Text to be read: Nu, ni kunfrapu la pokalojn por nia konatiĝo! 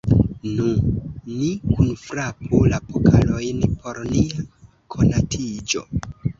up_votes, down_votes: 1, 2